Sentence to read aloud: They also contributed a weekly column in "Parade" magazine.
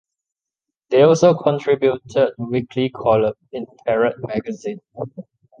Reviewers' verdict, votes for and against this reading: accepted, 2, 0